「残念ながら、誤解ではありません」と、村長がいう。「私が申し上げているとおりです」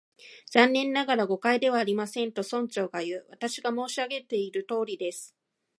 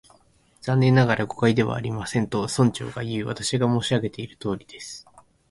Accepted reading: first